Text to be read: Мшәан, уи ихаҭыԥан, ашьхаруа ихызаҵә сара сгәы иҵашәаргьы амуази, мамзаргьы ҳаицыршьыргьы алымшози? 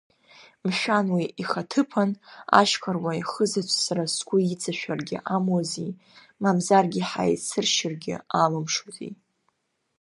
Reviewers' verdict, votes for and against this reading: accepted, 2, 0